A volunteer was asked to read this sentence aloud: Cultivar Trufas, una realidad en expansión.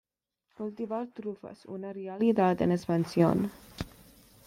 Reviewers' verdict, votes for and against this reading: accepted, 2, 0